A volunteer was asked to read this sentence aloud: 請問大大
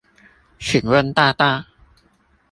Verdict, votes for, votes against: accepted, 2, 0